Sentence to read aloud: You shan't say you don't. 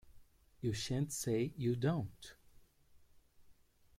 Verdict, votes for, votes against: accepted, 2, 1